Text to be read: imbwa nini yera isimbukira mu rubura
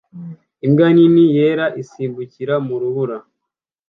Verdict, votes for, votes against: accepted, 2, 0